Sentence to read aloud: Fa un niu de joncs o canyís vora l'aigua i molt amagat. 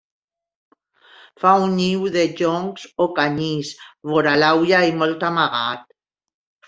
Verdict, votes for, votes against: rejected, 1, 2